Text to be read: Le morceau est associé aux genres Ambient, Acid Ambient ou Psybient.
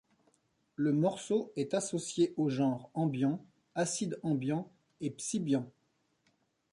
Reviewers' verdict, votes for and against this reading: rejected, 0, 2